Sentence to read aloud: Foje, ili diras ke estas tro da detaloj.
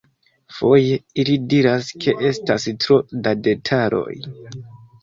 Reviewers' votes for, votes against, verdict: 1, 2, rejected